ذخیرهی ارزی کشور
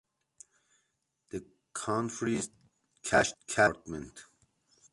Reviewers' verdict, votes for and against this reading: rejected, 0, 2